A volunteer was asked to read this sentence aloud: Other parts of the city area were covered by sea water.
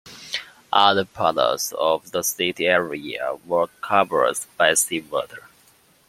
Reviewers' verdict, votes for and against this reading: rejected, 0, 2